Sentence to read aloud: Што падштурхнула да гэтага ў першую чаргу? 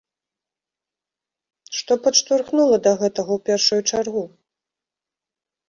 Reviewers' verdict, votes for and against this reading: accepted, 2, 0